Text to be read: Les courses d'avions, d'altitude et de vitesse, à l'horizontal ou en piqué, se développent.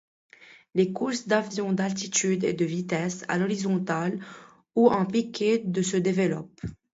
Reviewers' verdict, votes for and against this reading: rejected, 1, 2